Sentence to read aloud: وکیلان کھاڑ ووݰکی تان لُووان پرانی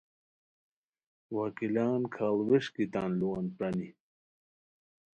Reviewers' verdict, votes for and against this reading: accepted, 2, 0